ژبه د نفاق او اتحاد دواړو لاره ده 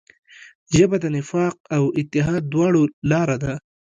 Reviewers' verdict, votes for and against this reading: rejected, 1, 2